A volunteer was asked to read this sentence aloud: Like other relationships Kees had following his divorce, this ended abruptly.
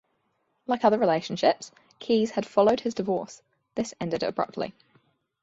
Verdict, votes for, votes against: rejected, 0, 2